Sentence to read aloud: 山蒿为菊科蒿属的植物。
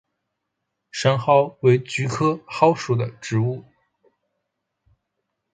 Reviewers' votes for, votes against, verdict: 3, 0, accepted